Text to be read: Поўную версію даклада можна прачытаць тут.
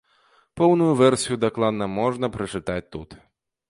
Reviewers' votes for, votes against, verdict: 1, 2, rejected